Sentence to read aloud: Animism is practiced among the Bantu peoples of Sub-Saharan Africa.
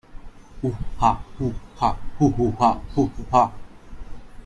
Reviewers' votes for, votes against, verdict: 1, 2, rejected